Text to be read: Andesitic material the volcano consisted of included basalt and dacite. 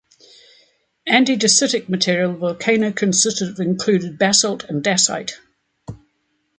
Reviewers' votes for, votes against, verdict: 1, 2, rejected